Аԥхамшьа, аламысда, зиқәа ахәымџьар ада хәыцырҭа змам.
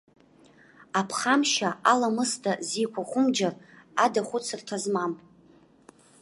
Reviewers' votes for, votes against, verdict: 2, 1, accepted